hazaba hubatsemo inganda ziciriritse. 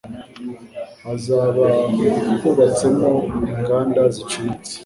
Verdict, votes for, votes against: accepted, 2, 0